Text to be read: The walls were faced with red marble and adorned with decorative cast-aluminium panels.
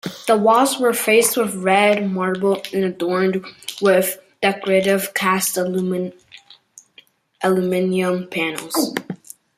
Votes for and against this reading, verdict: 1, 2, rejected